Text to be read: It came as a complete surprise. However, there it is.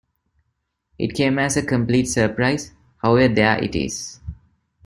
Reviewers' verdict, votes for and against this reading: accepted, 2, 0